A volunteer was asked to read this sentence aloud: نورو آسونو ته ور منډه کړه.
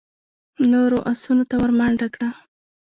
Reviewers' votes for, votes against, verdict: 2, 0, accepted